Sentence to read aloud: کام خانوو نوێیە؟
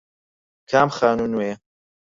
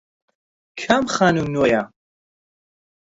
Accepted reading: first